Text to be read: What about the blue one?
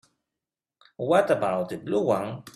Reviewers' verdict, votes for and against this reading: accepted, 2, 0